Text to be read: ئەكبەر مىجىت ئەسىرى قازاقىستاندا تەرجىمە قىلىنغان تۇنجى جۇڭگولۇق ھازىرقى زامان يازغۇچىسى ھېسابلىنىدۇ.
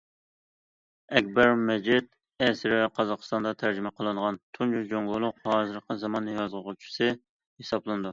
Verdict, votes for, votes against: accepted, 2, 0